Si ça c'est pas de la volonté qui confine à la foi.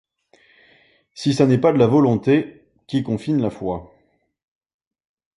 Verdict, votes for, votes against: rejected, 1, 2